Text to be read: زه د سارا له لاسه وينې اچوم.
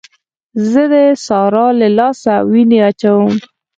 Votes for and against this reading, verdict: 4, 0, accepted